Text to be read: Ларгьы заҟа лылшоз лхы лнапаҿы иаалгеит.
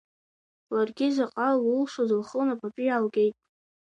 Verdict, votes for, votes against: accepted, 2, 1